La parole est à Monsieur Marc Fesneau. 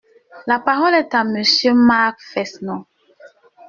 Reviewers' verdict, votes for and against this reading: rejected, 1, 2